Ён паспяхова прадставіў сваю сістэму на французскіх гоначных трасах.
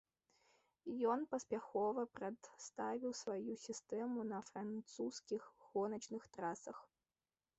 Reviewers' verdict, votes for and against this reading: accepted, 2, 1